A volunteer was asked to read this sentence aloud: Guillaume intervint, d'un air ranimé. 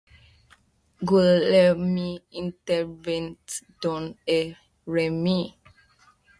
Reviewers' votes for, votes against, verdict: 0, 2, rejected